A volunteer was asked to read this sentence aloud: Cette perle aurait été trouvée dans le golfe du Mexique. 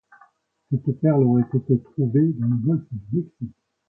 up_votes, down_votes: 2, 1